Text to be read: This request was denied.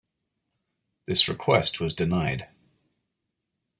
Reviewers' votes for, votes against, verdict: 2, 0, accepted